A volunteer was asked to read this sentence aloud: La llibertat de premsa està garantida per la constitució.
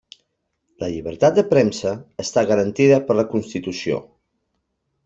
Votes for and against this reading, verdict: 3, 0, accepted